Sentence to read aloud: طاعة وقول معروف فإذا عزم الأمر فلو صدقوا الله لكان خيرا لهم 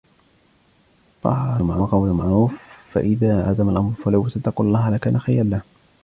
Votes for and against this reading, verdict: 0, 2, rejected